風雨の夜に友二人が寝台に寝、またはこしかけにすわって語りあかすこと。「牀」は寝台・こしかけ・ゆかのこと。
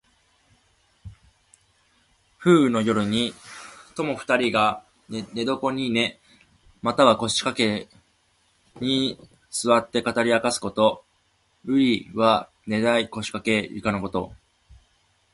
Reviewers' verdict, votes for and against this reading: accepted, 3, 0